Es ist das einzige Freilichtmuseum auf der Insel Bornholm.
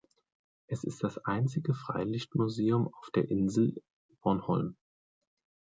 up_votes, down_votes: 2, 0